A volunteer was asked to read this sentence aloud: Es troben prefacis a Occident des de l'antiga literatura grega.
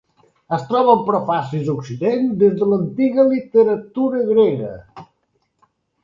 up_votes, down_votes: 2, 0